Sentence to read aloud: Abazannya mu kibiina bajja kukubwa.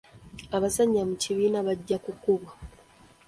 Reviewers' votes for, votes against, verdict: 2, 0, accepted